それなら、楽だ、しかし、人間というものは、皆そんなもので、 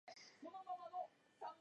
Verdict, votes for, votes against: rejected, 0, 2